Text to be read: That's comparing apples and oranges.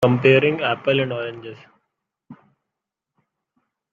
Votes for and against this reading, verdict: 1, 2, rejected